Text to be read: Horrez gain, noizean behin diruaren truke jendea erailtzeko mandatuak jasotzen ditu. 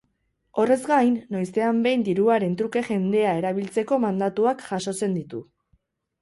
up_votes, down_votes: 2, 2